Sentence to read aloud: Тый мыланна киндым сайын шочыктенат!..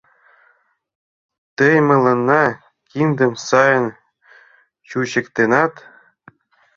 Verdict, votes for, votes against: rejected, 0, 2